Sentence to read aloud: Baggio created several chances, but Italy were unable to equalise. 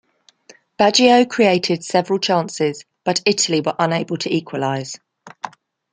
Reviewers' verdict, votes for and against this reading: accepted, 2, 0